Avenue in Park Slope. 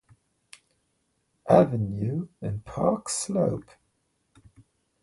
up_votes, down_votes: 1, 2